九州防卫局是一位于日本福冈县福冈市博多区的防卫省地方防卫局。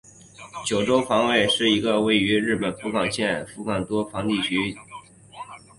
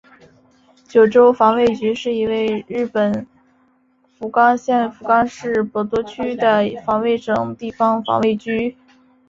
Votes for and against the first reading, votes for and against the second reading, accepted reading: 2, 3, 3, 1, second